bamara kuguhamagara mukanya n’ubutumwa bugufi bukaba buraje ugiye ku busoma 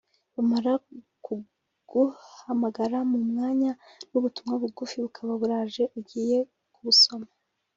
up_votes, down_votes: 0, 2